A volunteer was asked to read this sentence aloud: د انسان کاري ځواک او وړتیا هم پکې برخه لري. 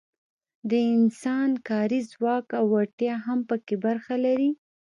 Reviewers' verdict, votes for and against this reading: accepted, 2, 1